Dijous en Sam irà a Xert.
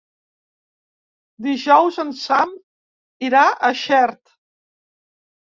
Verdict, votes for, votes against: rejected, 1, 5